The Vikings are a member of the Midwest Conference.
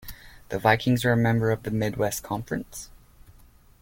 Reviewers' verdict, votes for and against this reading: accepted, 2, 0